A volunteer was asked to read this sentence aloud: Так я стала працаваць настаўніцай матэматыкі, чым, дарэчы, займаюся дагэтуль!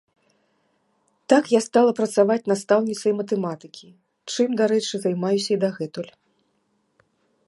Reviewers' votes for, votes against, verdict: 1, 2, rejected